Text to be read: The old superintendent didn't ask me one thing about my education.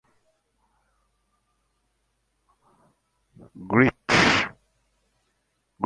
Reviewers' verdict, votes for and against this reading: rejected, 0, 2